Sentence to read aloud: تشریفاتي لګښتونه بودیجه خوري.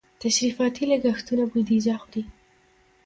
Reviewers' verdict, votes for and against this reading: accepted, 2, 0